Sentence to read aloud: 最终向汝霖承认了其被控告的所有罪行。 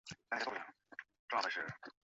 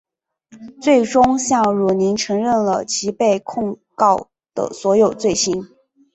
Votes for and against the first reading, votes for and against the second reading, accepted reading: 1, 3, 3, 1, second